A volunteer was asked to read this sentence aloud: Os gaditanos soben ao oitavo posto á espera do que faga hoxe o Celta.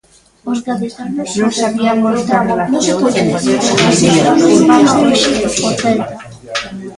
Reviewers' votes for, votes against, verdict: 0, 2, rejected